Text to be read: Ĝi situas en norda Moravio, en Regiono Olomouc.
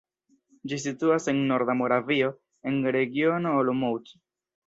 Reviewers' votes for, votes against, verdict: 2, 1, accepted